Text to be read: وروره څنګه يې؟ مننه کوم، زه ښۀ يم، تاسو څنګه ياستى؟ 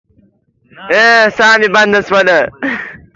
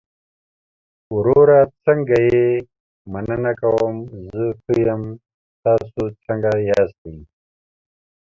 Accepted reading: second